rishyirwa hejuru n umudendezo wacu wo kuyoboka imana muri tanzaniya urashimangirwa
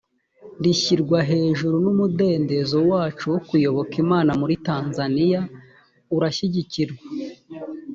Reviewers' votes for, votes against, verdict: 1, 2, rejected